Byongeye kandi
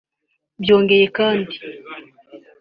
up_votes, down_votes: 2, 0